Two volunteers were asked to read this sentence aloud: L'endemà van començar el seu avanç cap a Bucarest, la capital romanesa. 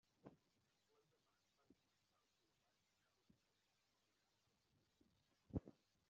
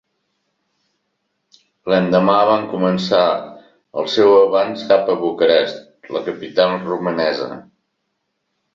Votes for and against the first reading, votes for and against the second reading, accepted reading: 0, 2, 2, 0, second